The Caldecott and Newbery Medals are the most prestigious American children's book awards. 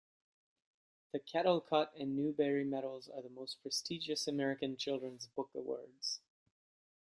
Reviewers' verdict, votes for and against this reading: rejected, 0, 2